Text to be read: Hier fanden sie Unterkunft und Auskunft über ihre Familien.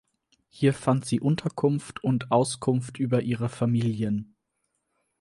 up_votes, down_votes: 0, 4